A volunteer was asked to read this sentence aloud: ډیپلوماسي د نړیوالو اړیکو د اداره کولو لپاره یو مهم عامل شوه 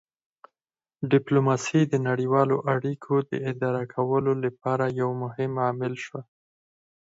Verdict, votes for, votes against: rejected, 2, 4